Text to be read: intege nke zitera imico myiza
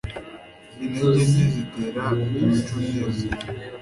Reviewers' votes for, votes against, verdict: 2, 1, accepted